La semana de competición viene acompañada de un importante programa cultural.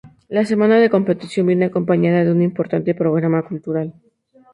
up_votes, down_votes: 2, 0